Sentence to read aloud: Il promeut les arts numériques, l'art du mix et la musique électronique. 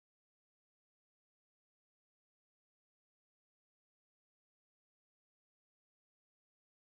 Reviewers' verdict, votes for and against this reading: rejected, 0, 2